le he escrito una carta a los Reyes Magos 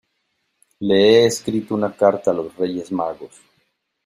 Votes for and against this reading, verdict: 2, 0, accepted